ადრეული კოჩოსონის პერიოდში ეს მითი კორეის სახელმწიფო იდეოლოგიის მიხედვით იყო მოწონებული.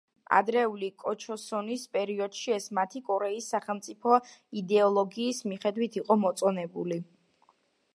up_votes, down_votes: 1, 2